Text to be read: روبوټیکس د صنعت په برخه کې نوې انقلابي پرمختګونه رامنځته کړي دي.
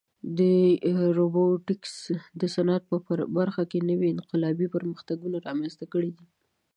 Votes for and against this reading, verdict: 2, 0, accepted